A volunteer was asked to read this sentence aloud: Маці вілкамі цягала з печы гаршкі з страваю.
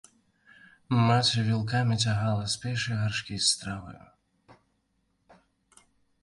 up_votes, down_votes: 1, 2